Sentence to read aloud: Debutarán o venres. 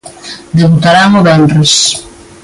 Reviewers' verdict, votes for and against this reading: accepted, 2, 0